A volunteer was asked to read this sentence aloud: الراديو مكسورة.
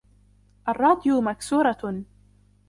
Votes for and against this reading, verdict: 2, 1, accepted